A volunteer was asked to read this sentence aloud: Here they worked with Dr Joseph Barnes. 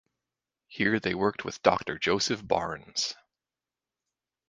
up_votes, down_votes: 2, 0